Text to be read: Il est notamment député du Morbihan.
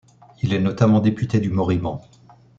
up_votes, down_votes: 0, 2